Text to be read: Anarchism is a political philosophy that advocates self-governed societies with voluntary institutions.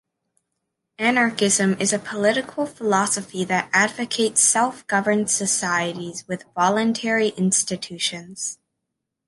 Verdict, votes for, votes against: accepted, 2, 0